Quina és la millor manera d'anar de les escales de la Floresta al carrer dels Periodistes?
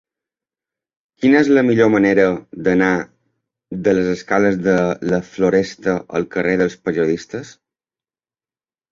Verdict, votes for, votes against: rejected, 1, 2